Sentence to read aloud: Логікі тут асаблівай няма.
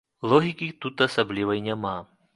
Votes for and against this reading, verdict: 2, 0, accepted